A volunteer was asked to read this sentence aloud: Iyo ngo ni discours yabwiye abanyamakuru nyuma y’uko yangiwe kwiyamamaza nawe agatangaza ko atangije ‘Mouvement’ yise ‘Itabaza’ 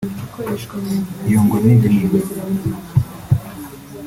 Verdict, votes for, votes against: rejected, 0, 2